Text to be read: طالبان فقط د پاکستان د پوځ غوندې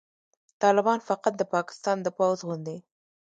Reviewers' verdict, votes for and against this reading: rejected, 1, 2